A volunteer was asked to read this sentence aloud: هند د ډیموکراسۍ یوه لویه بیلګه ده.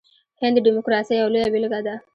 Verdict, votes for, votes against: accepted, 2, 0